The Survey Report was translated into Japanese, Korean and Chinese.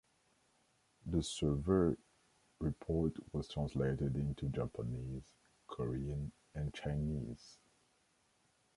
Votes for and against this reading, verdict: 0, 2, rejected